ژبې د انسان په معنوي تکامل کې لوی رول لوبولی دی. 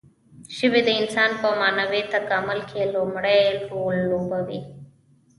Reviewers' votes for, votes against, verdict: 0, 2, rejected